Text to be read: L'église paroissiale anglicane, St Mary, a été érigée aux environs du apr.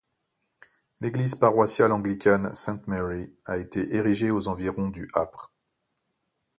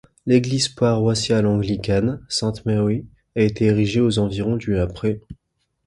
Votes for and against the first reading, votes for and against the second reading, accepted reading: 2, 0, 1, 2, first